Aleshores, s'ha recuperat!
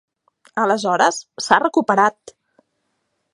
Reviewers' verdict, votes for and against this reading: accepted, 3, 0